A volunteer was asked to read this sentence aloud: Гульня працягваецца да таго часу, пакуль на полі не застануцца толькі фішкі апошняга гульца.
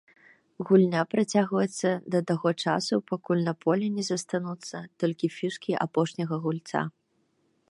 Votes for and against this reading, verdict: 2, 0, accepted